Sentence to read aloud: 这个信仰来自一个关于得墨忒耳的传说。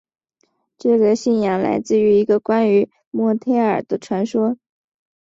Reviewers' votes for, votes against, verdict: 4, 0, accepted